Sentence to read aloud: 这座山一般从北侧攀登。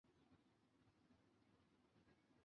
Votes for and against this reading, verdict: 0, 2, rejected